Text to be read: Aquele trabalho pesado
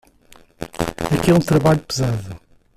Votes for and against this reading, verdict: 1, 2, rejected